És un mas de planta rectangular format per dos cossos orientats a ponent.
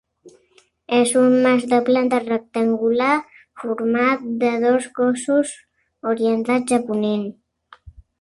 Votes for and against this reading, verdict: 0, 2, rejected